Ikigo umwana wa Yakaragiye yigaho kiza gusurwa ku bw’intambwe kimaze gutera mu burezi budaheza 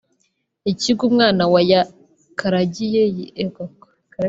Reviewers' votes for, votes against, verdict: 0, 2, rejected